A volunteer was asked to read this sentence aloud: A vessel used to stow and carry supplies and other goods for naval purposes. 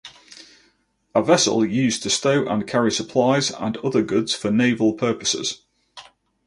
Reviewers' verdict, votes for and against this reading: accepted, 2, 0